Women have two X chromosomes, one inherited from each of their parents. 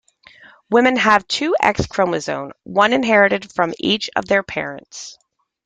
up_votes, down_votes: 2, 0